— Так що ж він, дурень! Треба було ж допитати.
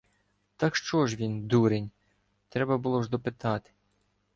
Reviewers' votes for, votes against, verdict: 2, 0, accepted